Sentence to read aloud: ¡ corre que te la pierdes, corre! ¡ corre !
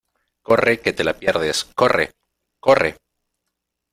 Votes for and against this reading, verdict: 2, 0, accepted